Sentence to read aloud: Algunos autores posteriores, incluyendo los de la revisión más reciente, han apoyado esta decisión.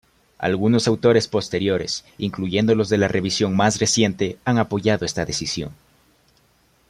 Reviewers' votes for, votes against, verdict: 2, 0, accepted